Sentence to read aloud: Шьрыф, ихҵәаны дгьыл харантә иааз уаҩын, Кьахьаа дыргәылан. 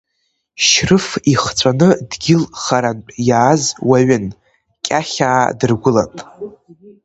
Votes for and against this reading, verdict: 2, 0, accepted